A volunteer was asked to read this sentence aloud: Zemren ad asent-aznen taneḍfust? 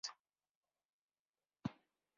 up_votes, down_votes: 1, 2